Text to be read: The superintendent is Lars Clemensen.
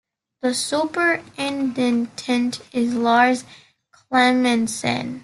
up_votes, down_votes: 2, 0